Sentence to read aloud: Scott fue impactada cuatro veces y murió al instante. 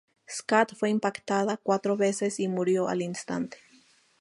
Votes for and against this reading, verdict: 2, 0, accepted